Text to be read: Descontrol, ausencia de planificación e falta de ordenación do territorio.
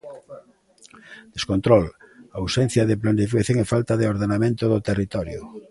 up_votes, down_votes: 1, 2